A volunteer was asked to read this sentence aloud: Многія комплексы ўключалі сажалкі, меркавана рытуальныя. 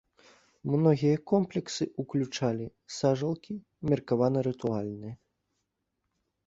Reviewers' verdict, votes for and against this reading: accepted, 3, 0